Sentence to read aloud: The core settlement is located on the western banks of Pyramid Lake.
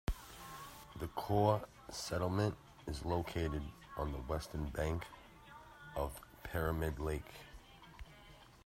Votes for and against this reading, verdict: 1, 2, rejected